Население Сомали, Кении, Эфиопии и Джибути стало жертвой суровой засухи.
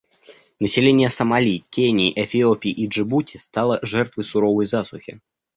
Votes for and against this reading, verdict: 2, 0, accepted